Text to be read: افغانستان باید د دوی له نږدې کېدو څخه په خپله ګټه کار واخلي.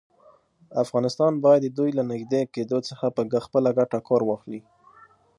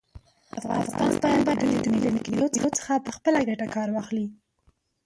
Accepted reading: first